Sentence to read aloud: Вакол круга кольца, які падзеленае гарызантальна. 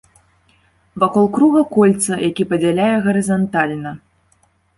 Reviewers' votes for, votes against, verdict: 0, 2, rejected